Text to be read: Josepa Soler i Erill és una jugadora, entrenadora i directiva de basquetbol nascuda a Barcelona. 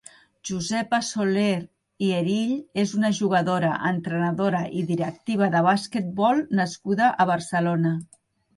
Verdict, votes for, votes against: accepted, 2, 0